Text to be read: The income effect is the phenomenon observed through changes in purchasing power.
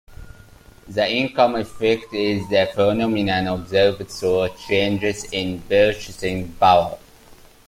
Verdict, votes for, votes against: accepted, 2, 0